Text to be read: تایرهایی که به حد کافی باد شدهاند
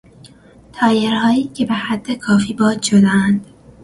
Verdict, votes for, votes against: accepted, 2, 0